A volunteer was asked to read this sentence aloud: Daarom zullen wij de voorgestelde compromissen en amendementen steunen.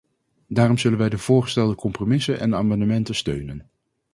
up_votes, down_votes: 2, 0